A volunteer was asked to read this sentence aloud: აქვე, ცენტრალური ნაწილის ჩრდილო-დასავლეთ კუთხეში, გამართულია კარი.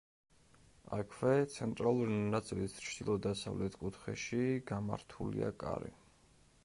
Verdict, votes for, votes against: rejected, 1, 2